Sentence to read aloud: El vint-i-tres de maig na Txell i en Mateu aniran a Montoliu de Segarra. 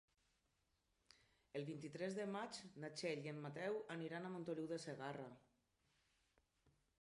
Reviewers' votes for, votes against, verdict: 1, 2, rejected